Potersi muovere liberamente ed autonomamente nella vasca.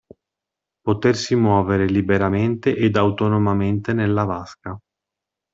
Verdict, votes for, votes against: accepted, 2, 0